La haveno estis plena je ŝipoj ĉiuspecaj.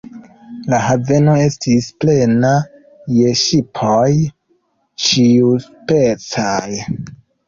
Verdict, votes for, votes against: accepted, 2, 1